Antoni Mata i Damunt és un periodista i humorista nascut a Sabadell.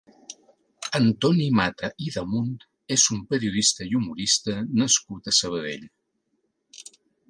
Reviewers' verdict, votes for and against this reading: accepted, 2, 0